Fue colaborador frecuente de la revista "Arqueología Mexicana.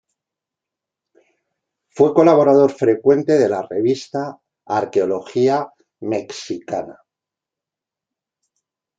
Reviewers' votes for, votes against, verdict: 0, 2, rejected